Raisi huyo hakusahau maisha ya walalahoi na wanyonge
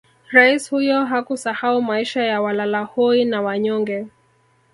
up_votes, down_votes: 0, 2